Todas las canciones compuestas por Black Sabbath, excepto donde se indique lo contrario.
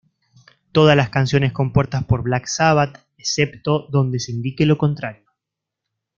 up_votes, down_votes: 1, 2